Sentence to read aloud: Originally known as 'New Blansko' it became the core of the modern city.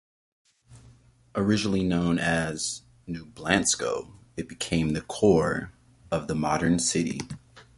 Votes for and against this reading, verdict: 2, 0, accepted